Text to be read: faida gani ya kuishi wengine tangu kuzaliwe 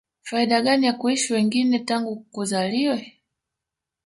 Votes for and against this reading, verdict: 3, 0, accepted